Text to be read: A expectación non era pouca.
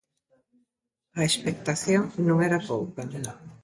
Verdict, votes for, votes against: accepted, 2, 0